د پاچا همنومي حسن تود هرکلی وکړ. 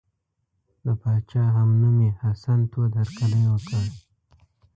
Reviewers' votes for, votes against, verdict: 2, 0, accepted